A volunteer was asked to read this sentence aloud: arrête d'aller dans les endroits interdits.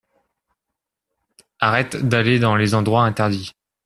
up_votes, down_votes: 2, 0